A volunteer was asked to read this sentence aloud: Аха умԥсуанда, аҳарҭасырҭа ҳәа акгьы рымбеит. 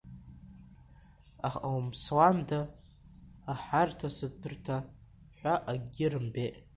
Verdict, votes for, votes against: accepted, 2, 0